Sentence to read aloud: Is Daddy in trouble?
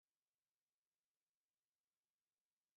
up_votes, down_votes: 0, 2